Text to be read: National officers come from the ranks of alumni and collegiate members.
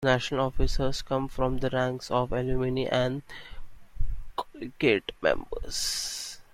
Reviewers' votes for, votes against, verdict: 0, 2, rejected